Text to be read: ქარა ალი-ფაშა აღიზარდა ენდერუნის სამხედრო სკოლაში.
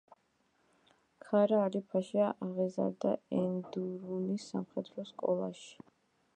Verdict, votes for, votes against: rejected, 0, 2